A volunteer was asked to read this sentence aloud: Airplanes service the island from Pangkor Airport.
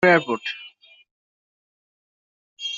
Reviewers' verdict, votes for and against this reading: rejected, 0, 2